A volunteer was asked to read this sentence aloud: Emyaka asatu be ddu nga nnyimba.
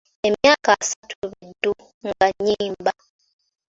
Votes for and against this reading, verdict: 3, 0, accepted